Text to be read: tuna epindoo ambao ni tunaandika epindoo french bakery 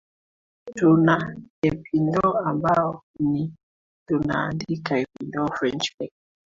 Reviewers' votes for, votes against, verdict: 0, 2, rejected